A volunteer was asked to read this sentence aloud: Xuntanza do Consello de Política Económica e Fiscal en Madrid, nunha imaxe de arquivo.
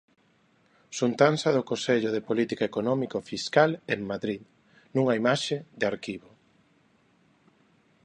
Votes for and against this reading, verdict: 0, 2, rejected